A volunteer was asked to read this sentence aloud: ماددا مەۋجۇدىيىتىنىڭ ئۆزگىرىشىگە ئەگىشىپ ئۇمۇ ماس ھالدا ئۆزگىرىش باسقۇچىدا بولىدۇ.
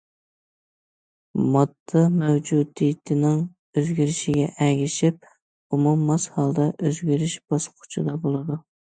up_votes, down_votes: 2, 0